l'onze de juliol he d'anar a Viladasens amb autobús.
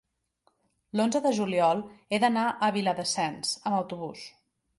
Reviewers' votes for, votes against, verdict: 3, 0, accepted